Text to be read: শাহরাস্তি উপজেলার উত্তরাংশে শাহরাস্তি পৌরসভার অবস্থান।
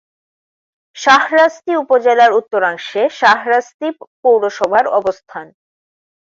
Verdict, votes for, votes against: accepted, 2, 0